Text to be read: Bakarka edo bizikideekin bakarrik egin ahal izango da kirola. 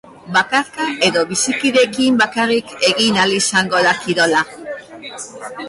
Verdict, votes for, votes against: accepted, 2, 0